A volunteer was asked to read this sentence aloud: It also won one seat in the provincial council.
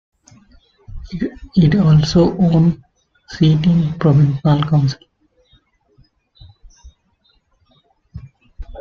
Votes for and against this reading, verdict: 0, 2, rejected